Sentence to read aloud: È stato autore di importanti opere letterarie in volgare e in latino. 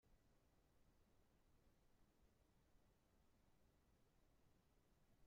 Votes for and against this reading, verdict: 0, 2, rejected